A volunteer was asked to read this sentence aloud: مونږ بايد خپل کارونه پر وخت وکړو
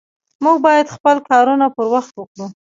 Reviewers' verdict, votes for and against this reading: accepted, 2, 0